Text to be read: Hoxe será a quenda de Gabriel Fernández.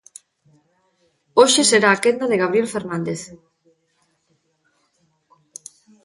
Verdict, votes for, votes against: accepted, 2, 0